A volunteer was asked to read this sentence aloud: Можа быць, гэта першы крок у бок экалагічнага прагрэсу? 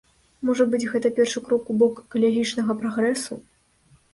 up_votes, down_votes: 0, 2